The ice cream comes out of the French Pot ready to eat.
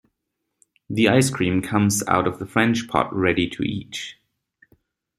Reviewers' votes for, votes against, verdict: 2, 0, accepted